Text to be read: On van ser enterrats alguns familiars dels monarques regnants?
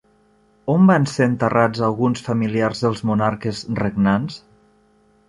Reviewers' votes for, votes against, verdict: 3, 0, accepted